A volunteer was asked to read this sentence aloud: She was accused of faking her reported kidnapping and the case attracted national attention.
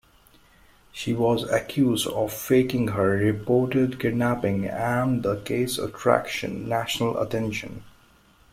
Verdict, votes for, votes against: rejected, 0, 2